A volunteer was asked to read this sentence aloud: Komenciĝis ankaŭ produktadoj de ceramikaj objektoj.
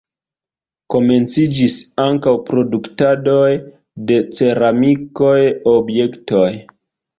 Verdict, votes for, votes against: rejected, 0, 2